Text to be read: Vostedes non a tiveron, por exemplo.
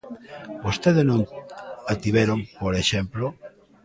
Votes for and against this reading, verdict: 1, 2, rejected